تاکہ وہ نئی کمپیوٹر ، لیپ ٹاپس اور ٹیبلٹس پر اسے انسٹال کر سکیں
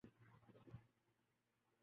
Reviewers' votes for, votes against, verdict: 0, 2, rejected